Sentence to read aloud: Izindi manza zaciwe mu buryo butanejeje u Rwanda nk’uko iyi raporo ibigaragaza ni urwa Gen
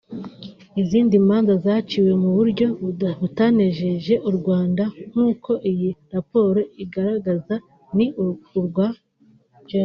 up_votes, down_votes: 2, 3